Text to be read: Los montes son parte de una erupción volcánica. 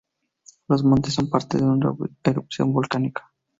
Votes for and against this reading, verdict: 2, 0, accepted